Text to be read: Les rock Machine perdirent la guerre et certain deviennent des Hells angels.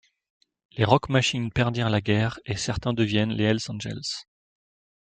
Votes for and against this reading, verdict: 1, 2, rejected